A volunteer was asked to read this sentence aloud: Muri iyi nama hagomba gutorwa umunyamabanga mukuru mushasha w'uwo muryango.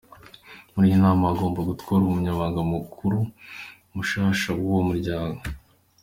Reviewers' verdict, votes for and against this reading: accepted, 2, 0